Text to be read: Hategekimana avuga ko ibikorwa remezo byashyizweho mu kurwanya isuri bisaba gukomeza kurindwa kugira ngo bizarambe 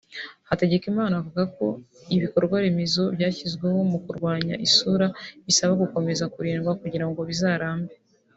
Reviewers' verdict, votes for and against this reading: rejected, 1, 2